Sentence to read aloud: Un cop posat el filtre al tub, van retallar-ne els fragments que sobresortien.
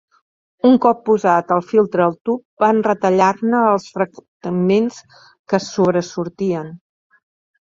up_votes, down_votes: 1, 2